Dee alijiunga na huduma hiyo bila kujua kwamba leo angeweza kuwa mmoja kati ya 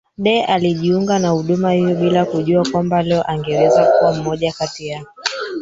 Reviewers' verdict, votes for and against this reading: rejected, 0, 3